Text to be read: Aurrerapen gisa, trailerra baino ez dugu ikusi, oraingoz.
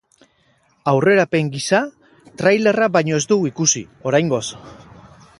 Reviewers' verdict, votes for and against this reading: accepted, 4, 0